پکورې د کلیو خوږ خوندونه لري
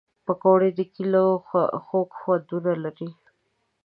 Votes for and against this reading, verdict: 1, 2, rejected